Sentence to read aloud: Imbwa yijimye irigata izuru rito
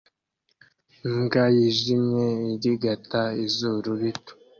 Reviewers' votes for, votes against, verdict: 2, 0, accepted